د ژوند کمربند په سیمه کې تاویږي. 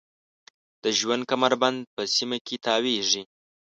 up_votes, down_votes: 2, 0